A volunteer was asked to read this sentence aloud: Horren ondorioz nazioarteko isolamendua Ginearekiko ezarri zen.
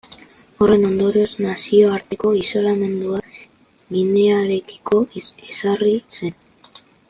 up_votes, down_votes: 0, 2